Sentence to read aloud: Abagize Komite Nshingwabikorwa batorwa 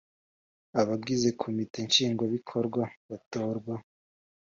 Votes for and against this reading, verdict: 2, 0, accepted